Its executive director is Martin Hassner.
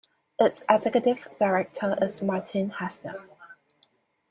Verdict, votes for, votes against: accepted, 2, 0